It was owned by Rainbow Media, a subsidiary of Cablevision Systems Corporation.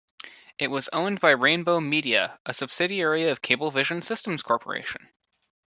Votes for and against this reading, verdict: 2, 0, accepted